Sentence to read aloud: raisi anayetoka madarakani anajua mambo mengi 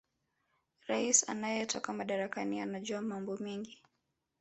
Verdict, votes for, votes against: accepted, 3, 0